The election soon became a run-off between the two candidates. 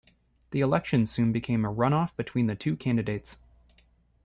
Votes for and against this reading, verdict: 0, 2, rejected